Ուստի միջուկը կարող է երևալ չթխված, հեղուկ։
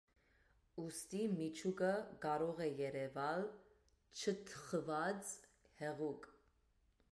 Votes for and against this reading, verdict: 2, 0, accepted